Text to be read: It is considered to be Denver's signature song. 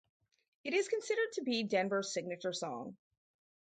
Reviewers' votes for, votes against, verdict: 4, 0, accepted